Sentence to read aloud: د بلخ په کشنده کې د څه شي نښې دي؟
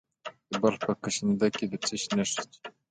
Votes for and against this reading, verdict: 2, 0, accepted